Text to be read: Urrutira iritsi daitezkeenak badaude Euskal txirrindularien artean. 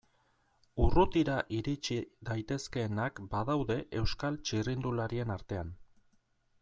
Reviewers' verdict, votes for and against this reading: accepted, 2, 0